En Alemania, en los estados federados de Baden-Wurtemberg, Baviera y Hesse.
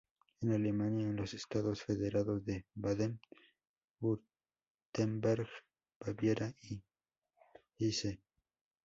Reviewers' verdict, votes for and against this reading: accepted, 2, 0